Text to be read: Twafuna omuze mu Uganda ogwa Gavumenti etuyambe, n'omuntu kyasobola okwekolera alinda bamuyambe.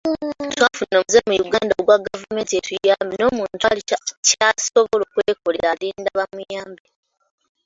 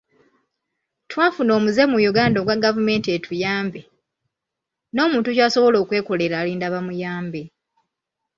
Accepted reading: second